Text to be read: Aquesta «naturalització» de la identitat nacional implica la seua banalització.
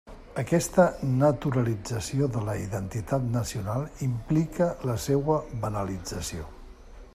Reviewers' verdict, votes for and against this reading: accepted, 3, 0